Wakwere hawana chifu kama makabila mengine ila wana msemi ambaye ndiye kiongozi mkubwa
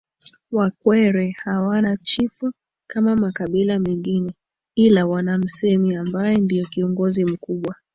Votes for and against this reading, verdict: 2, 0, accepted